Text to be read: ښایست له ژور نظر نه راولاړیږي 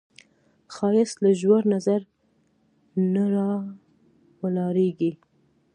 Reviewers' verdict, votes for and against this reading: accepted, 2, 0